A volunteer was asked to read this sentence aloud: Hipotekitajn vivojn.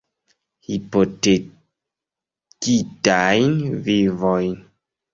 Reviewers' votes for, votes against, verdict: 0, 2, rejected